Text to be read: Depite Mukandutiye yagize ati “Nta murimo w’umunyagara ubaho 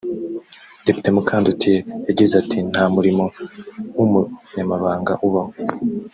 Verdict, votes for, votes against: rejected, 1, 2